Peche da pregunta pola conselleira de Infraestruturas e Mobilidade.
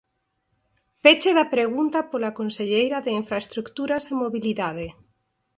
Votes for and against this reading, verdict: 0, 4, rejected